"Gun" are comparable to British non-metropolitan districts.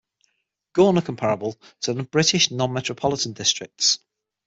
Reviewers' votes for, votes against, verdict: 0, 6, rejected